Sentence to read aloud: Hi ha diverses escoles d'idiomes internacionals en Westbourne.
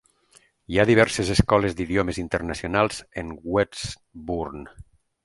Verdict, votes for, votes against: accepted, 2, 0